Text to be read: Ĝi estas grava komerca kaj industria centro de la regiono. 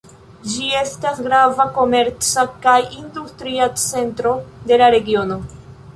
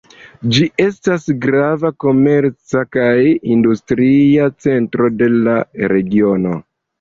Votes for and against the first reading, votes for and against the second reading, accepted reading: 1, 2, 2, 1, second